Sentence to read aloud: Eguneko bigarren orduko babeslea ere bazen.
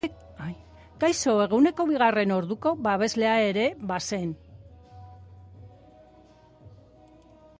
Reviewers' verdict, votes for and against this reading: rejected, 0, 4